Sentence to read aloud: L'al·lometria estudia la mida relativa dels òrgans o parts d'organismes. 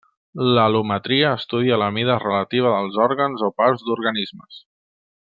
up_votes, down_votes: 0, 2